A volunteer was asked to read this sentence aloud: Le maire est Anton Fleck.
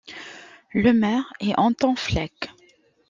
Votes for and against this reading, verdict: 2, 0, accepted